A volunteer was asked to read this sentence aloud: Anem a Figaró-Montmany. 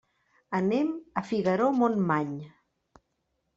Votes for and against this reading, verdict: 3, 0, accepted